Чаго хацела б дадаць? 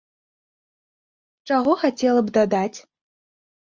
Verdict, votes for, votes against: accepted, 2, 0